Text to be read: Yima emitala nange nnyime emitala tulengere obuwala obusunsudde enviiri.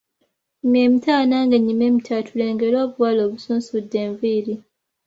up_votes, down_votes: 1, 2